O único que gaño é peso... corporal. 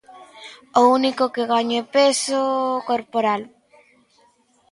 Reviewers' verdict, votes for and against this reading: accepted, 2, 0